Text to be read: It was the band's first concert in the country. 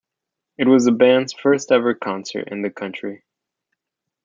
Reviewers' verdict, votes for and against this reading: rejected, 0, 2